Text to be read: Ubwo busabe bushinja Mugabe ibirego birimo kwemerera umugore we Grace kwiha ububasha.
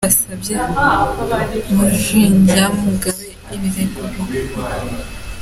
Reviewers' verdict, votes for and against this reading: rejected, 0, 4